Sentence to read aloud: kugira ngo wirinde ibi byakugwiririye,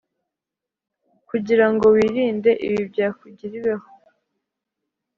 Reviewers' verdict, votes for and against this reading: rejected, 1, 2